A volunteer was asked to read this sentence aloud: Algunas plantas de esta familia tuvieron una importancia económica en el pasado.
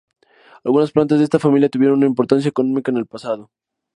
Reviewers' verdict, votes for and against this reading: accepted, 2, 0